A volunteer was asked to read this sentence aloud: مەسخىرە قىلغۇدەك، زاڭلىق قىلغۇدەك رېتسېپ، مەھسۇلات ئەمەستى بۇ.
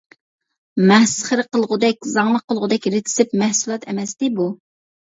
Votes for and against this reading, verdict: 1, 2, rejected